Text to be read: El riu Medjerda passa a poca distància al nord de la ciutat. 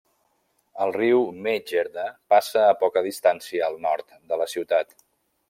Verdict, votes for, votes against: accepted, 2, 0